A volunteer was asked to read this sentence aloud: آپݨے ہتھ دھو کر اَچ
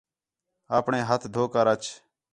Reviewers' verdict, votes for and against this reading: accepted, 4, 0